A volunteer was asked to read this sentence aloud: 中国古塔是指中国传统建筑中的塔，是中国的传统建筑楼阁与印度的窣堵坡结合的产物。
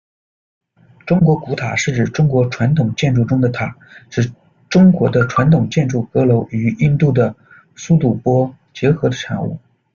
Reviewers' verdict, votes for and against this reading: rejected, 1, 2